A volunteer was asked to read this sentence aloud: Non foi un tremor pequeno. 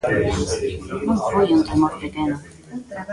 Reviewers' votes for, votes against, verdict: 0, 2, rejected